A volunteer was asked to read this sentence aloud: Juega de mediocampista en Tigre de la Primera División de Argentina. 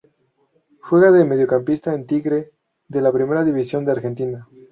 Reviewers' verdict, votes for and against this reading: rejected, 0, 2